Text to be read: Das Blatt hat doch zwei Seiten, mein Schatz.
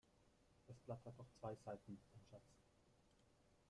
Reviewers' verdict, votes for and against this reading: rejected, 0, 2